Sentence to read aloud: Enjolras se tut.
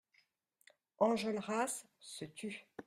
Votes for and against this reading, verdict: 2, 0, accepted